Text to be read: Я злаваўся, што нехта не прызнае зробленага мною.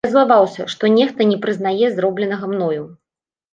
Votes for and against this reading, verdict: 1, 2, rejected